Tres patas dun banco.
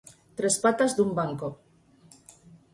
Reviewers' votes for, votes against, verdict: 4, 0, accepted